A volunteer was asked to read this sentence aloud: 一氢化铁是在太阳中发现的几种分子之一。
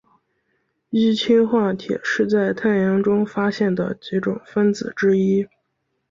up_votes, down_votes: 3, 1